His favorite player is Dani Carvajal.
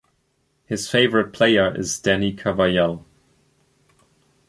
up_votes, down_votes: 2, 0